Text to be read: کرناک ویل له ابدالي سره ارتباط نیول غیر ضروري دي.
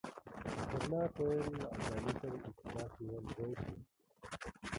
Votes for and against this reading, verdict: 0, 2, rejected